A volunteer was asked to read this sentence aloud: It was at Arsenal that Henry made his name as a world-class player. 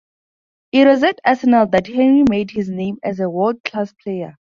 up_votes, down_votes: 0, 2